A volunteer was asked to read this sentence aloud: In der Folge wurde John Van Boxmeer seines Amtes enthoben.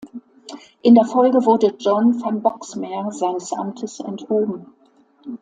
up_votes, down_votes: 0, 2